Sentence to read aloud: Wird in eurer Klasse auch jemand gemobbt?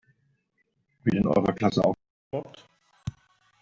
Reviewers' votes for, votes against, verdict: 0, 2, rejected